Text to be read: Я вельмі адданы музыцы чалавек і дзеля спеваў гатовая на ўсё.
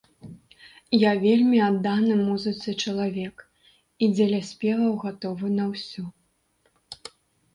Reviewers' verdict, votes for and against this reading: rejected, 1, 2